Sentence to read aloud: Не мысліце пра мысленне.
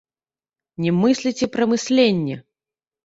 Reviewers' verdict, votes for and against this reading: rejected, 1, 2